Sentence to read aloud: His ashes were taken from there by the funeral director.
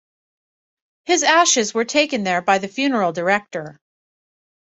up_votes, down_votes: 1, 2